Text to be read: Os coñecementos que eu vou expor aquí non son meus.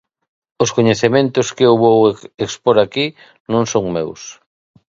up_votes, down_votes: 0, 2